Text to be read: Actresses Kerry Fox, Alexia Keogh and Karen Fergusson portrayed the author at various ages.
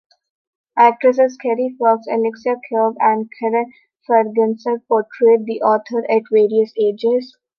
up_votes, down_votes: 1, 2